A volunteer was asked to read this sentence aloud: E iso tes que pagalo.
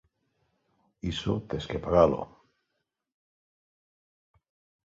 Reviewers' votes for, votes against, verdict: 1, 2, rejected